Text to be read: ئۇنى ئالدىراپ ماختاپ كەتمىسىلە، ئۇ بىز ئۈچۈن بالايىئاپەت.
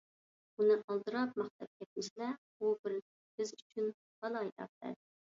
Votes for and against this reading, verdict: 0, 2, rejected